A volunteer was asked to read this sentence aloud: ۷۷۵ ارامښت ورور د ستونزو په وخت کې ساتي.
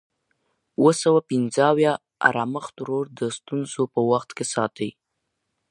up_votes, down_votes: 0, 2